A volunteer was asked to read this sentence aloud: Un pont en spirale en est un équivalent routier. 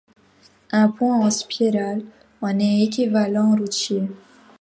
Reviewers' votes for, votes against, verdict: 0, 2, rejected